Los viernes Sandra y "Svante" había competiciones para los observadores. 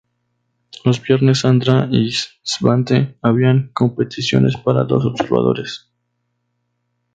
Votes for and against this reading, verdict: 0, 2, rejected